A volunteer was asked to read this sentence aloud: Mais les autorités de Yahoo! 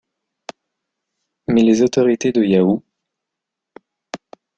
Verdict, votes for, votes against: accepted, 2, 0